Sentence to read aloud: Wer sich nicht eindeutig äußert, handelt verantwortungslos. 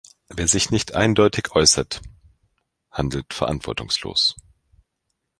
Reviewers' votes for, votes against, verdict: 2, 0, accepted